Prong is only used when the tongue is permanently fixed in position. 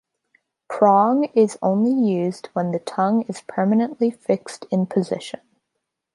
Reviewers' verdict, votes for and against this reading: accepted, 3, 0